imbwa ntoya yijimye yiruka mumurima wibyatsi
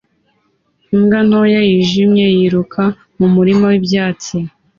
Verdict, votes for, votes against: accepted, 2, 0